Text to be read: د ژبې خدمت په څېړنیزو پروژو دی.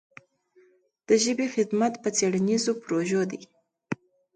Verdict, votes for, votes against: accepted, 2, 0